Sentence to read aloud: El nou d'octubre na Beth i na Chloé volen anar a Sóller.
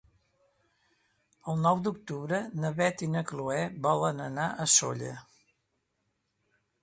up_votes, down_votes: 2, 0